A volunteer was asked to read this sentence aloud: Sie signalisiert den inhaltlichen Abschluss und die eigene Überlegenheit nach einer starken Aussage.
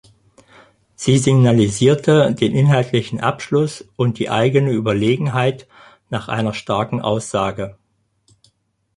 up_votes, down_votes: 0, 4